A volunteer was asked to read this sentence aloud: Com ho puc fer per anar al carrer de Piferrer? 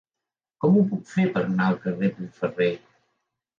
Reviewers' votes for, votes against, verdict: 1, 4, rejected